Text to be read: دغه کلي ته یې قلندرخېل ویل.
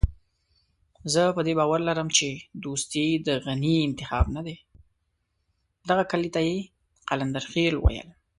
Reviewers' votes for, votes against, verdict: 1, 2, rejected